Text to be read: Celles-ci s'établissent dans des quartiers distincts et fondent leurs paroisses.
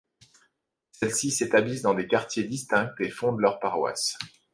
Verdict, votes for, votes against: accepted, 2, 0